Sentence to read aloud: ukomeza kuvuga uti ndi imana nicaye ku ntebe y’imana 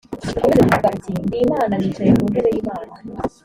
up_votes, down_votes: 0, 2